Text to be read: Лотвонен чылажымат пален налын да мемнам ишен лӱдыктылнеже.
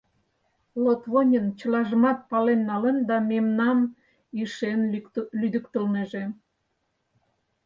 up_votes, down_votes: 0, 4